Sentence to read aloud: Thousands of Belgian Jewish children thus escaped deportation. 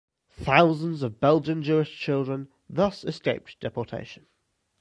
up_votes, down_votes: 0, 2